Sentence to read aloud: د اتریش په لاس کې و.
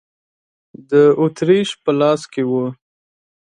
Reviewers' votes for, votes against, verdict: 2, 0, accepted